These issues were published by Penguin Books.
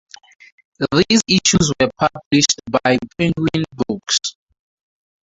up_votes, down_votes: 0, 2